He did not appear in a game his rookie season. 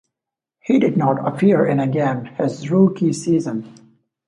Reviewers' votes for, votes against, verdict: 1, 2, rejected